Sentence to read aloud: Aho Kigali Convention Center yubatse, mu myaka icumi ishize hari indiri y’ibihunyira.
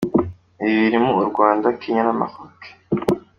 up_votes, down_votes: 0, 2